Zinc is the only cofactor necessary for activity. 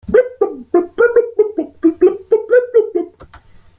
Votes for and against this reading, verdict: 0, 2, rejected